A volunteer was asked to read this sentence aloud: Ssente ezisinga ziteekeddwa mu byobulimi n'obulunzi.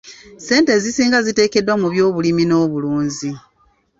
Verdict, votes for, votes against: accepted, 2, 0